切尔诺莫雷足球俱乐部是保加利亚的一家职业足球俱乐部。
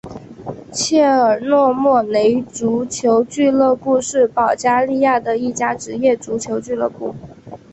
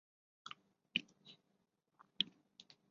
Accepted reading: first